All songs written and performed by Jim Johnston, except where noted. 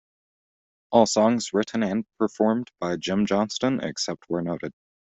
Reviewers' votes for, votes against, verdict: 2, 0, accepted